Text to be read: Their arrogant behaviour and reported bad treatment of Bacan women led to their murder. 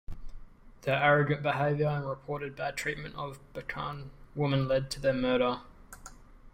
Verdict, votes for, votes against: accepted, 3, 2